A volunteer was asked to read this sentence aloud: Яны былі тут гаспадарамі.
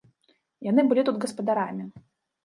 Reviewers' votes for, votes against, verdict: 0, 2, rejected